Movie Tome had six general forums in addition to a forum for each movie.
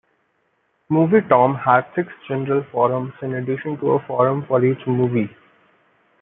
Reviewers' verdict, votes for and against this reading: rejected, 1, 2